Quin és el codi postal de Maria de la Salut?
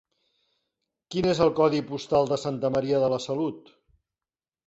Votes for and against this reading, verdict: 1, 3, rejected